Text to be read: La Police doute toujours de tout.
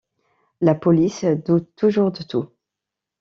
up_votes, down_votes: 2, 1